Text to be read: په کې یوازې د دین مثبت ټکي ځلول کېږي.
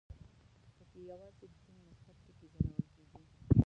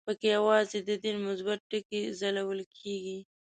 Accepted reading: second